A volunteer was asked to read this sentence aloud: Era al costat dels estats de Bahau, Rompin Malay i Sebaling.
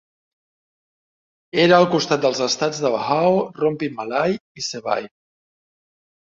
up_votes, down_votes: 1, 2